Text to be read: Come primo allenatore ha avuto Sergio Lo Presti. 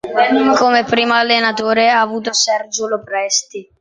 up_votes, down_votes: 3, 0